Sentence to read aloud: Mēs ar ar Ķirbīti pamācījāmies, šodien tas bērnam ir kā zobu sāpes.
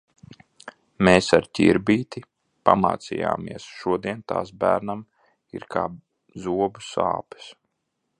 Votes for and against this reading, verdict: 0, 2, rejected